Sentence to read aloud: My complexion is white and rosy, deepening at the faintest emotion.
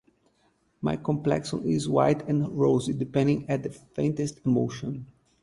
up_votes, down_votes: 2, 2